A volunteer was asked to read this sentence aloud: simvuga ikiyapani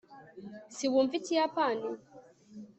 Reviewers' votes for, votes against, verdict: 1, 2, rejected